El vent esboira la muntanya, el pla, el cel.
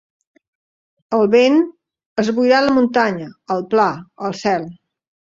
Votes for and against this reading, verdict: 1, 2, rejected